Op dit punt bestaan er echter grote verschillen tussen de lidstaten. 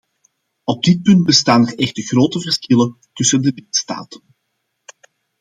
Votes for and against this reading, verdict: 2, 0, accepted